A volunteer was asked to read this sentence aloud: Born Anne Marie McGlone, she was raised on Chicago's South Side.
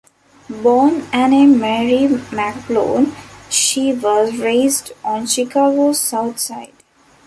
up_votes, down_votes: 2, 0